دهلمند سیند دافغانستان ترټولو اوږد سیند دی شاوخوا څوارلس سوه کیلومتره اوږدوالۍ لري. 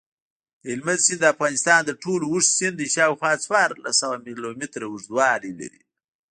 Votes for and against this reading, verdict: 1, 2, rejected